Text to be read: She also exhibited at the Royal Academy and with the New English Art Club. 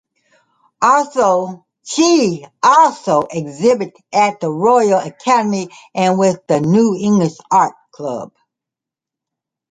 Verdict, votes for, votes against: rejected, 0, 2